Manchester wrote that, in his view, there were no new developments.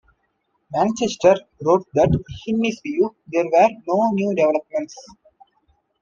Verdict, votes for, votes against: accepted, 2, 1